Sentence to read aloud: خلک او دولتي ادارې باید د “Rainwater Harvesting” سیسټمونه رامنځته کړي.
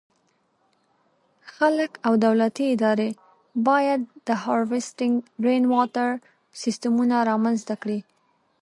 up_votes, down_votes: 2, 0